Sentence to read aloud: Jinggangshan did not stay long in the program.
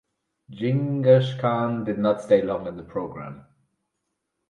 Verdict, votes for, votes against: rejected, 2, 2